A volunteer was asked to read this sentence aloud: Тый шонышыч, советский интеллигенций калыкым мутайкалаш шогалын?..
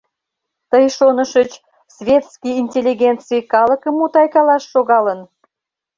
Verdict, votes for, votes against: rejected, 0, 3